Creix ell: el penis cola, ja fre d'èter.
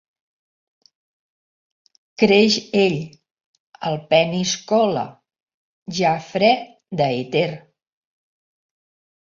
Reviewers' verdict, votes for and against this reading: rejected, 0, 2